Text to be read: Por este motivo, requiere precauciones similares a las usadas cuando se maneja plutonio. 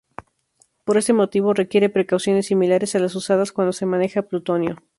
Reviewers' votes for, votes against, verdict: 0, 2, rejected